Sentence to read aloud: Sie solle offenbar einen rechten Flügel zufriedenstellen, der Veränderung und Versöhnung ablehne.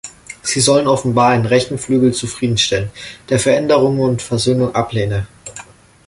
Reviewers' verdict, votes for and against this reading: rejected, 0, 2